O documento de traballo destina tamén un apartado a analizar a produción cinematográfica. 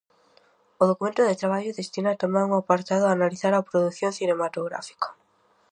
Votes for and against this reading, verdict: 2, 0, accepted